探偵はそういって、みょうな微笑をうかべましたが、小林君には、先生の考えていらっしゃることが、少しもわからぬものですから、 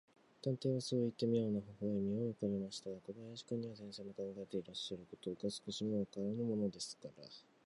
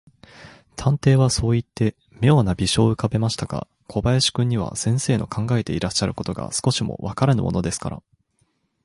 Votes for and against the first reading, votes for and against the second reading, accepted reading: 0, 2, 6, 0, second